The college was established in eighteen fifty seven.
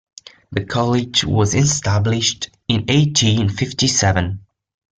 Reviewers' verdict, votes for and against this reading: accepted, 2, 1